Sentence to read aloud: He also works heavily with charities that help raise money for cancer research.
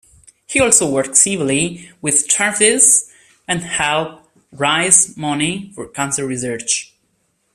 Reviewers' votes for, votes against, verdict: 0, 2, rejected